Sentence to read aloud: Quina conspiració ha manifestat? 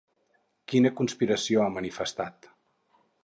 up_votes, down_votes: 4, 0